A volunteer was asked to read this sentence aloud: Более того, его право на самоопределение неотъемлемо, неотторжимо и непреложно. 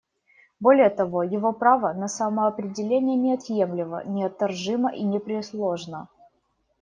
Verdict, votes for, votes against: rejected, 1, 2